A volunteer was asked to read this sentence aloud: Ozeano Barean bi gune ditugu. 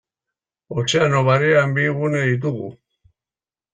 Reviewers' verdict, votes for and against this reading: rejected, 0, 2